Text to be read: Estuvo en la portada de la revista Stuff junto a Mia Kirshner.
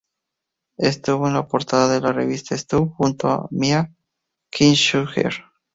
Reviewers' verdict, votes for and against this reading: accepted, 2, 0